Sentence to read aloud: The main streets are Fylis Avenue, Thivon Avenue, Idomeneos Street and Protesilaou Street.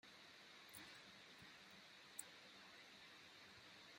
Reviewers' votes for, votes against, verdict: 0, 2, rejected